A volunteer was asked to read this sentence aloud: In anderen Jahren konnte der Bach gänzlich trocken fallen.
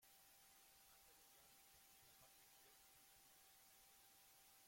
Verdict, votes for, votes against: rejected, 0, 2